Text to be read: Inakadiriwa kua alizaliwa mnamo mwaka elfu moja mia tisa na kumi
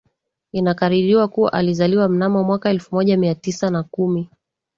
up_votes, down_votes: 2, 0